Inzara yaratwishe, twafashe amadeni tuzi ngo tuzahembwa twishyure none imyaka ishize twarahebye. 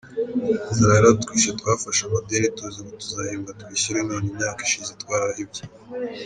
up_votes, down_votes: 0, 2